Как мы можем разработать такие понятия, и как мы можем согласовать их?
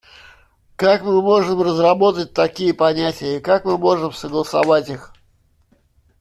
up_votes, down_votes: 3, 0